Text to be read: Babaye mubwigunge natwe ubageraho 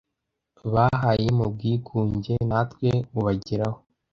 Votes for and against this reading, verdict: 1, 2, rejected